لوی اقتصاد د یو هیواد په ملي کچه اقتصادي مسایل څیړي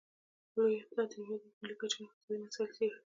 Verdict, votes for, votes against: rejected, 1, 2